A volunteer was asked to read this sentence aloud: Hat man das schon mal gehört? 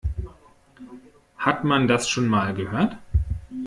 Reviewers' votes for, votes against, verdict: 2, 0, accepted